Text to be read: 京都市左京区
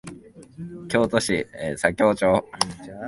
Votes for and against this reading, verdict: 1, 2, rejected